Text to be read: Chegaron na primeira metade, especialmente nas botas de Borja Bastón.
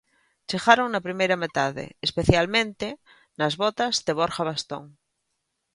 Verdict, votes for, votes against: accepted, 2, 0